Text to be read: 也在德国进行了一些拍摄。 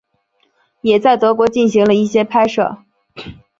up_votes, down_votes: 5, 0